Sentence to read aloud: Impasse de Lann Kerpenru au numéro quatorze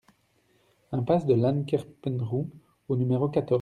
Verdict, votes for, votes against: rejected, 0, 2